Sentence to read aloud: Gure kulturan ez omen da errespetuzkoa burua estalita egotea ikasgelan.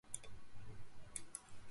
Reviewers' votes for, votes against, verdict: 0, 2, rejected